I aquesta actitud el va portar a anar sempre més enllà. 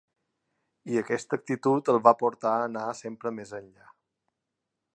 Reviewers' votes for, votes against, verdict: 3, 0, accepted